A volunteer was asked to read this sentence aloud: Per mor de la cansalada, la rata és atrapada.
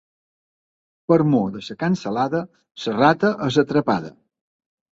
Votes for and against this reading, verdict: 1, 2, rejected